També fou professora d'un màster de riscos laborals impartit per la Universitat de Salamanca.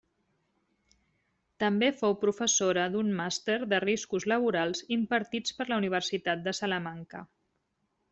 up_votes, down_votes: 1, 2